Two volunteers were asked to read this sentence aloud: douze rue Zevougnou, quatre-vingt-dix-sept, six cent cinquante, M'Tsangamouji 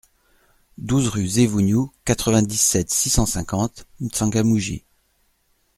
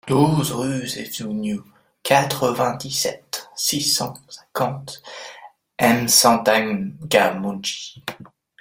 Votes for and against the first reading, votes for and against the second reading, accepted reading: 2, 0, 0, 2, first